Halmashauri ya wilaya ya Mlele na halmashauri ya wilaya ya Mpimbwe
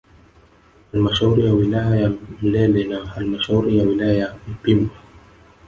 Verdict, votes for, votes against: rejected, 0, 2